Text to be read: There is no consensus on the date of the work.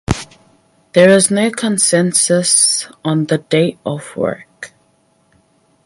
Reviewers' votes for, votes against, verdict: 0, 4, rejected